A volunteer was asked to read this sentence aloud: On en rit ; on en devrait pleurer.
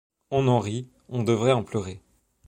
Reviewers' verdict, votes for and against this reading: rejected, 1, 3